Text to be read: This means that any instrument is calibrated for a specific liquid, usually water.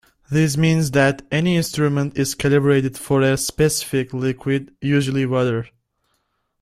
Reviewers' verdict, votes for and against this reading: rejected, 0, 2